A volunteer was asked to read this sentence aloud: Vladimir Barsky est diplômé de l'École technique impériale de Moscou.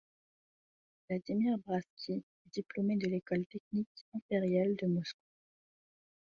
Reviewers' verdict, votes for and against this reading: rejected, 0, 2